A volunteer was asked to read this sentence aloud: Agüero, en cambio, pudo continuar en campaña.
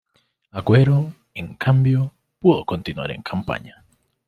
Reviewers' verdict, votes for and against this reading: accepted, 2, 0